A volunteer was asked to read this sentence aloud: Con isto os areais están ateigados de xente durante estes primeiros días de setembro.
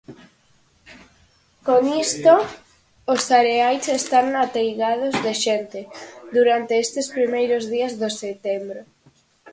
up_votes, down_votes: 0, 4